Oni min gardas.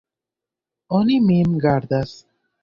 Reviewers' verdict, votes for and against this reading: accepted, 2, 1